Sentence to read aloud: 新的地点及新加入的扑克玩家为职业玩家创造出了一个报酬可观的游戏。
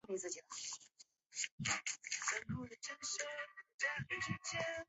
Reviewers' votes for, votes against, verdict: 0, 2, rejected